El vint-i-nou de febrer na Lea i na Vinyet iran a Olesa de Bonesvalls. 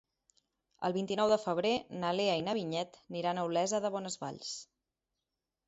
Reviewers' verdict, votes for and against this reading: accepted, 2, 0